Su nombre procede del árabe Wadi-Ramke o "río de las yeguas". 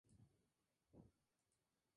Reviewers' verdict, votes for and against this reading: rejected, 0, 2